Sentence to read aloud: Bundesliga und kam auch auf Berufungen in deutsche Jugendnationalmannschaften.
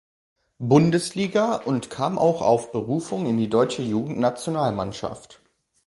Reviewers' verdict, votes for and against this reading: rejected, 0, 2